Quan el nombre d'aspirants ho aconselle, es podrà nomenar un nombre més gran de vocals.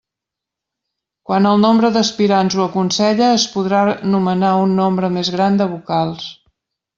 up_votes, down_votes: 1, 2